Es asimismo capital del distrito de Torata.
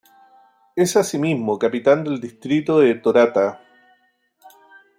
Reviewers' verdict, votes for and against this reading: accepted, 2, 0